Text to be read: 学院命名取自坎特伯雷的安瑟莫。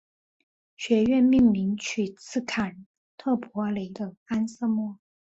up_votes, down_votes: 3, 0